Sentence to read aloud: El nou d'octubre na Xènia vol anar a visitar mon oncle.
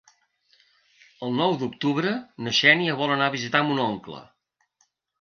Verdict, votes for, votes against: accepted, 3, 0